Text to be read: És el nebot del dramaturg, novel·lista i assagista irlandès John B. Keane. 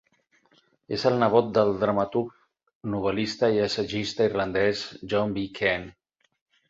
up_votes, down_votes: 4, 0